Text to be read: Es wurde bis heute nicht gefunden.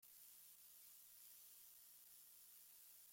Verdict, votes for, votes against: rejected, 0, 2